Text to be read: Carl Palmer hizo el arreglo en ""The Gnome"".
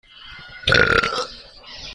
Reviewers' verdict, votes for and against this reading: rejected, 0, 2